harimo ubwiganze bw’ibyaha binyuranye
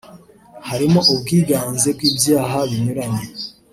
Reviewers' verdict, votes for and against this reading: rejected, 1, 2